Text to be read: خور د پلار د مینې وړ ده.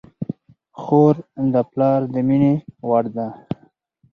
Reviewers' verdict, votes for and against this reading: accepted, 4, 0